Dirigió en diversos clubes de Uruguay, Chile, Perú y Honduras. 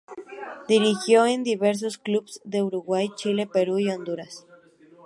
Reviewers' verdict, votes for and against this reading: rejected, 0, 2